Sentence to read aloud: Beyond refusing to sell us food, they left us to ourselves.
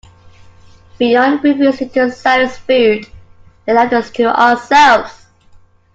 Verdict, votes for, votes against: accepted, 2, 1